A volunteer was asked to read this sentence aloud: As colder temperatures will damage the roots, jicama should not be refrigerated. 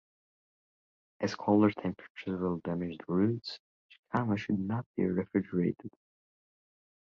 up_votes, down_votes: 2, 0